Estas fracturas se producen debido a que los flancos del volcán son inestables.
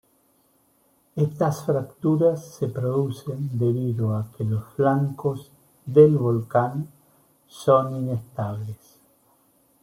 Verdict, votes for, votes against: accepted, 2, 0